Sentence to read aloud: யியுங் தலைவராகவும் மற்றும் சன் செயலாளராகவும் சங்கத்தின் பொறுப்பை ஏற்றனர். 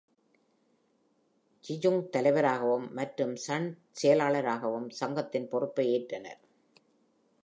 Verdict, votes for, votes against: accepted, 2, 0